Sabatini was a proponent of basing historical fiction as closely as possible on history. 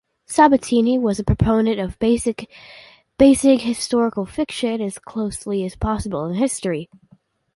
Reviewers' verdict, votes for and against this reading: rejected, 1, 2